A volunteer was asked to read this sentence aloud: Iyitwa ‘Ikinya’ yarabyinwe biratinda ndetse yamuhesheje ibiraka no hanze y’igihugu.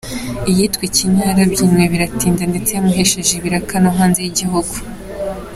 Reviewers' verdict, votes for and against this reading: accepted, 2, 1